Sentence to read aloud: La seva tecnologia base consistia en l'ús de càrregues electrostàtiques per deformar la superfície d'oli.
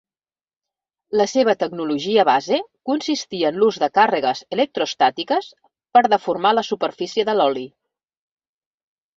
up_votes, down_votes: 1, 2